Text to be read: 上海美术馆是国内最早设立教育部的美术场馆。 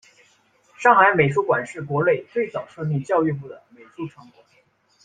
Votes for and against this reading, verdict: 1, 2, rejected